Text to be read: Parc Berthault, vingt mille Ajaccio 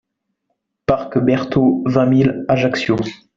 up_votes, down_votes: 2, 0